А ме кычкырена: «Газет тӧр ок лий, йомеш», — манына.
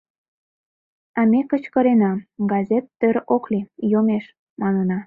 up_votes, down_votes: 2, 0